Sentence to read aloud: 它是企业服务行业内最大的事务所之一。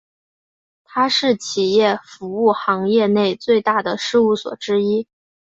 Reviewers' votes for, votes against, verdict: 2, 0, accepted